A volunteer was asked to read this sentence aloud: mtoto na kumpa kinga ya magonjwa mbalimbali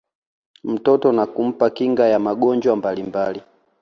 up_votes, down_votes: 3, 1